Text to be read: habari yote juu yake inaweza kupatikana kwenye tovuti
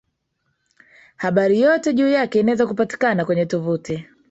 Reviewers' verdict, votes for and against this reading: rejected, 1, 2